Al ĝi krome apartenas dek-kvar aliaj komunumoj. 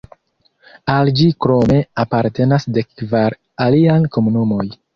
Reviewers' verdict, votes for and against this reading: accepted, 2, 0